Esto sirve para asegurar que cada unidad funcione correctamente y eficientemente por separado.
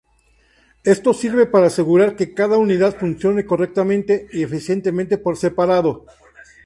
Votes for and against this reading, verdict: 0, 2, rejected